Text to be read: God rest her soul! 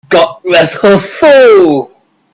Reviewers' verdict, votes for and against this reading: rejected, 0, 2